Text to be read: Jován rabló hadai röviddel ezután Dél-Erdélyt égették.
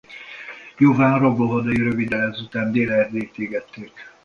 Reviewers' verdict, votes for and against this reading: rejected, 0, 2